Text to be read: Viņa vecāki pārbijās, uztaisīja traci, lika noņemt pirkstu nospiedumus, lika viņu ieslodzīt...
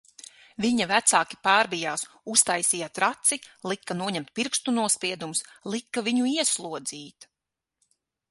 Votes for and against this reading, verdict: 6, 0, accepted